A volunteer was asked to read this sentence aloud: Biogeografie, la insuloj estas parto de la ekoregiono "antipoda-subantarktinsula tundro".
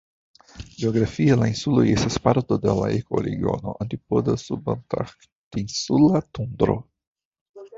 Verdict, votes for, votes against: rejected, 0, 2